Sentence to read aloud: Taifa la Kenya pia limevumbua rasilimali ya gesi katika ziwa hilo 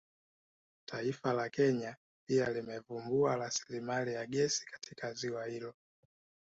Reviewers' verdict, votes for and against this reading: accepted, 2, 0